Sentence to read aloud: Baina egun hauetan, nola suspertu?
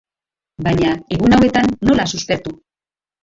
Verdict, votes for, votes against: rejected, 1, 2